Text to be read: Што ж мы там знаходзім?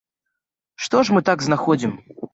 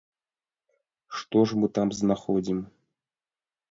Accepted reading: second